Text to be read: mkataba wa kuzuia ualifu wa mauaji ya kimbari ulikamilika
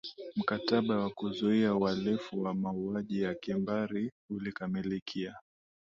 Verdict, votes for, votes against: accepted, 10, 1